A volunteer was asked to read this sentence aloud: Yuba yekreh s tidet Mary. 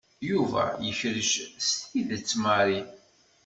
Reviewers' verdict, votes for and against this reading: rejected, 0, 2